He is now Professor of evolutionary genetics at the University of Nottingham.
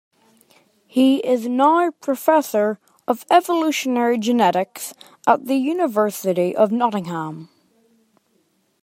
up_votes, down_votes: 2, 0